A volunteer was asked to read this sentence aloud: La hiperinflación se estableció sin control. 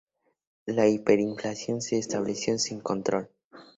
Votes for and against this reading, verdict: 4, 0, accepted